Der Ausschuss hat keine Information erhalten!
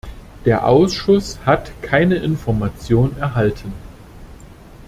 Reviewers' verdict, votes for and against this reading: accepted, 2, 0